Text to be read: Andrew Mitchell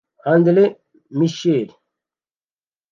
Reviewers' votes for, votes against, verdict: 0, 2, rejected